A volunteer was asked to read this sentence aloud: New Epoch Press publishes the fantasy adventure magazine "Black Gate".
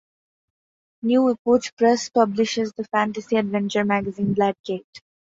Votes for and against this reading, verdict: 0, 2, rejected